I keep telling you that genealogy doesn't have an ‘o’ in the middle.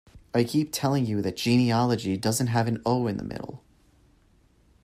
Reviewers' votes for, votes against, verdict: 2, 0, accepted